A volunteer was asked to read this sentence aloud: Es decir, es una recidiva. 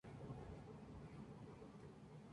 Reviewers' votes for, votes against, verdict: 0, 2, rejected